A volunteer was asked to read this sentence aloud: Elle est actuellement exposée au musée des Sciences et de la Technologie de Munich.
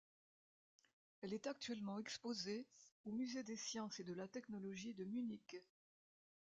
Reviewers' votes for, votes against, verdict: 2, 0, accepted